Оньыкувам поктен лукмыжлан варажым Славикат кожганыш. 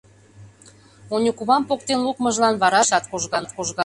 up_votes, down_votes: 0, 2